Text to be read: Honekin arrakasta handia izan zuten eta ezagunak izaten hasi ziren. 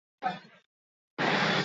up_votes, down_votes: 0, 4